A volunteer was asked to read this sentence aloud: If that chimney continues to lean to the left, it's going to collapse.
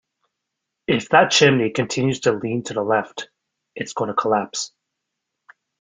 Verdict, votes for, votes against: rejected, 0, 2